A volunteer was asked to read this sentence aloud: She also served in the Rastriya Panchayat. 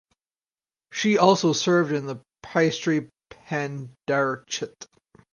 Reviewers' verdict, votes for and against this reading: rejected, 0, 2